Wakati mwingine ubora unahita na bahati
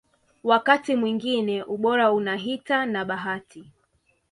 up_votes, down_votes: 2, 0